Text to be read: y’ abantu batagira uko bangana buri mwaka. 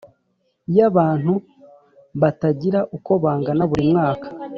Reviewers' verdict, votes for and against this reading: rejected, 1, 2